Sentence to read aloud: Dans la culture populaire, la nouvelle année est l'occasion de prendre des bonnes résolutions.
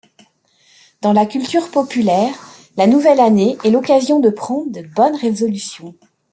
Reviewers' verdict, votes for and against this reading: rejected, 1, 2